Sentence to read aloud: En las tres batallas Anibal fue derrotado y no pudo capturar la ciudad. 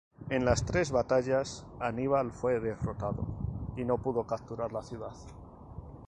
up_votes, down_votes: 0, 2